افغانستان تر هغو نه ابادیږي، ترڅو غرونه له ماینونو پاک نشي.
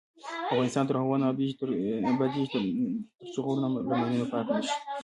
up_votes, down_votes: 1, 2